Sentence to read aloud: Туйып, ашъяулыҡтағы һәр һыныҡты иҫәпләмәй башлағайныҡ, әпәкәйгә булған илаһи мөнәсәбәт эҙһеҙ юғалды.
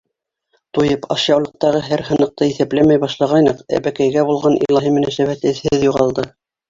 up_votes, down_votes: 2, 3